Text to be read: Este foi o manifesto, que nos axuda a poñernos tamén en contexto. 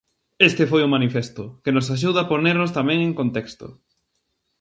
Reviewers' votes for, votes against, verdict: 0, 2, rejected